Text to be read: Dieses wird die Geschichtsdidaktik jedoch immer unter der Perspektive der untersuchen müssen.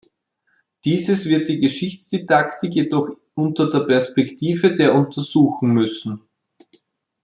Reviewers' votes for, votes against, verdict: 1, 2, rejected